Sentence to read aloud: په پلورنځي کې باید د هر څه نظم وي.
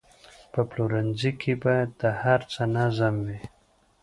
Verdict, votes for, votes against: accepted, 2, 0